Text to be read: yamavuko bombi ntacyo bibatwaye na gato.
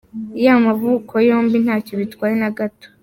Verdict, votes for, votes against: rejected, 1, 2